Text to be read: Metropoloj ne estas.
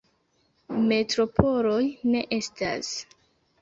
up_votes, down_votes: 2, 1